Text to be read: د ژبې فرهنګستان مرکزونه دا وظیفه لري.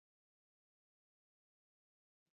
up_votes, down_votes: 0, 2